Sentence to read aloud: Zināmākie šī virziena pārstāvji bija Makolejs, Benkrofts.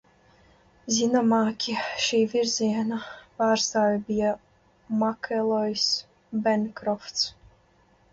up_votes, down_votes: 1, 2